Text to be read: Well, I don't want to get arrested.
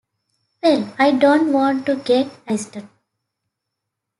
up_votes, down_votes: 0, 2